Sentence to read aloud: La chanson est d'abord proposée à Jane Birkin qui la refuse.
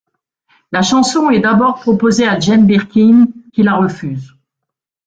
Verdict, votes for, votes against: accepted, 2, 0